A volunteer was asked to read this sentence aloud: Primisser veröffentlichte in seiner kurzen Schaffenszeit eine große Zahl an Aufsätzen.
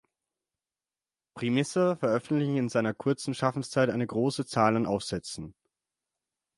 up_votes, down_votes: 6, 12